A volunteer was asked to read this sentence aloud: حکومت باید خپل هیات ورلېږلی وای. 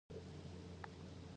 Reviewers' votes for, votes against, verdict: 0, 2, rejected